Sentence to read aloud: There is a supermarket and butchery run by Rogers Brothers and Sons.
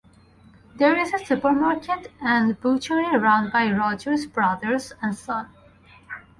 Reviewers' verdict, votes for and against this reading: rejected, 0, 2